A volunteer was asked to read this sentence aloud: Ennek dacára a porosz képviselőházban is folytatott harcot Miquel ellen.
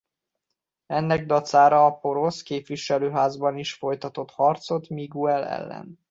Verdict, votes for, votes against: accepted, 2, 0